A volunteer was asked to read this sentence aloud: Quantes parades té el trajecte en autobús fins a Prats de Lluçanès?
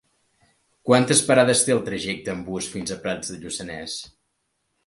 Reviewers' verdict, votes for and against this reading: rejected, 3, 4